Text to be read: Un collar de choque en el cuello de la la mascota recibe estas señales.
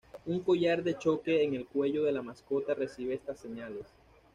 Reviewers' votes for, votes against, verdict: 1, 2, rejected